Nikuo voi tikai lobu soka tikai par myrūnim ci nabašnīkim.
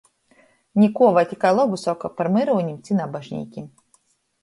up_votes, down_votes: 1, 3